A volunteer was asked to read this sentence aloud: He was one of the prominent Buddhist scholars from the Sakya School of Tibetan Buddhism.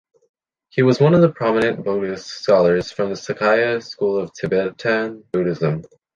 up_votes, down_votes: 2, 0